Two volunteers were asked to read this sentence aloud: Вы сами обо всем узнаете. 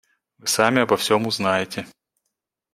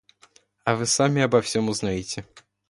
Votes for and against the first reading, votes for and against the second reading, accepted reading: 1, 2, 2, 1, second